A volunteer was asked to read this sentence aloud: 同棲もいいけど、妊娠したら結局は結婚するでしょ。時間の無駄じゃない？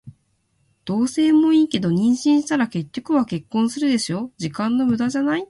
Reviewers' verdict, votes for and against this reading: accepted, 2, 0